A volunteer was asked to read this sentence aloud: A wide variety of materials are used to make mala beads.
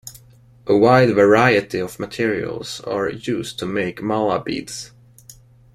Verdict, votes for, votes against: accepted, 2, 1